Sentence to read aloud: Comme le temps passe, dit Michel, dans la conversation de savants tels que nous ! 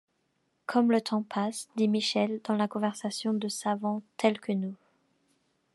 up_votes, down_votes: 2, 0